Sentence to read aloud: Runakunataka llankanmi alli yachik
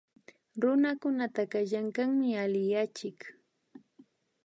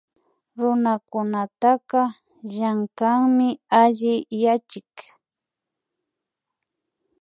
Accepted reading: second